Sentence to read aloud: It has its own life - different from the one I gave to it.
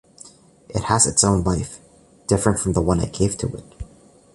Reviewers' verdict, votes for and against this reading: accepted, 2, 0